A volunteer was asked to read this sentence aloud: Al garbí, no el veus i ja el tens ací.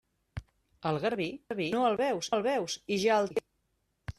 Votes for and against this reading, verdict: 0, 2, rejected